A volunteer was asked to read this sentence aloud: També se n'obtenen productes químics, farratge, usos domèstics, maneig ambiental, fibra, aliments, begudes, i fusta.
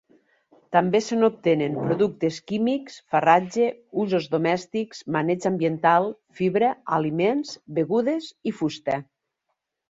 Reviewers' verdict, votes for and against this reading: accepted, 2, 0